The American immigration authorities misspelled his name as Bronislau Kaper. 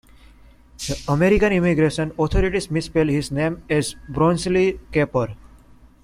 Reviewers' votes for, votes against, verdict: 1, 2, rejected